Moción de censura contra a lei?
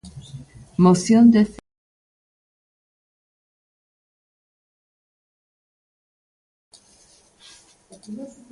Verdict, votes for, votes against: rejected, 0, 2